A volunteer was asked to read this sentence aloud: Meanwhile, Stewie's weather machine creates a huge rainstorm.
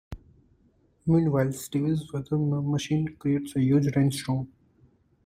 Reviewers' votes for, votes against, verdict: 2, 1, accepted